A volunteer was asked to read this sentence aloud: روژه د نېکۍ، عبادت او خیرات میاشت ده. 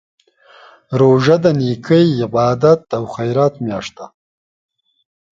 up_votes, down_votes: 2, 0